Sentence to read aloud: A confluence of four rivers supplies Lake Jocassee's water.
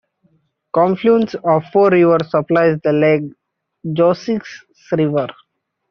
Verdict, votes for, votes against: rejected, 0, 2